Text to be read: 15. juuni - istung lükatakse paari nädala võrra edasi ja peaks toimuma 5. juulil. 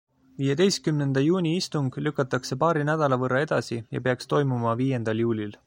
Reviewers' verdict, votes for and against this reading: rejected, 0, 2